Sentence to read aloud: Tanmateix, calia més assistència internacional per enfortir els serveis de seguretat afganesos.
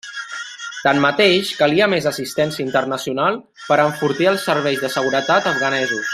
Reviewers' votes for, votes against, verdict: 1, 2, rejected